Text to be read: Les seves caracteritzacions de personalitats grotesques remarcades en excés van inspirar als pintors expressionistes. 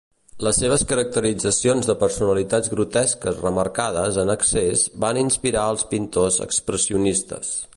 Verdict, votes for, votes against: accepted, 2, 0